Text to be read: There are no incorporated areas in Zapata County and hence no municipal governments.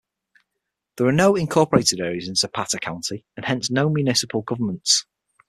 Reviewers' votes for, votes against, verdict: 6, 0, accepted